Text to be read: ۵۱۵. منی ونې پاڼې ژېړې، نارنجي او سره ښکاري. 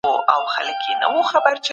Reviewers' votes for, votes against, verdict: 0, 2, rejected